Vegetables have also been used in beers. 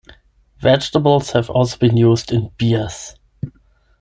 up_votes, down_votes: 10, 5